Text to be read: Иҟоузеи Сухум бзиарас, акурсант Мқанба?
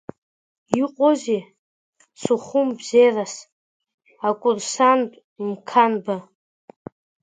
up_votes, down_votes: 0, 2